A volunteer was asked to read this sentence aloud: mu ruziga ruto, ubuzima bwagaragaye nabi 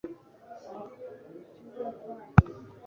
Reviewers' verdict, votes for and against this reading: rejected, 0, 2